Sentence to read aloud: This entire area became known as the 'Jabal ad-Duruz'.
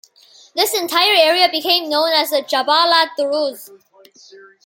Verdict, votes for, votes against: accepted, 2, 0